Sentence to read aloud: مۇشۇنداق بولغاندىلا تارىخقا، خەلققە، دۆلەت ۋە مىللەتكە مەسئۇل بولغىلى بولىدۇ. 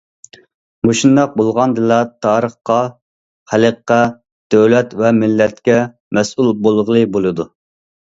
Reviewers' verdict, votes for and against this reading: accepted, 2, 0